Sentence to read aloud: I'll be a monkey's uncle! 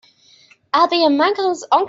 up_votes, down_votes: 1, 3